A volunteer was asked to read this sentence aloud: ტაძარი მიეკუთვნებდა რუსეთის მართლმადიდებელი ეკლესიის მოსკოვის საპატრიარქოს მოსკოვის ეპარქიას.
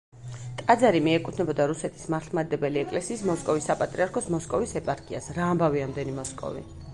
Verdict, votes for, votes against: rejected, 1, 2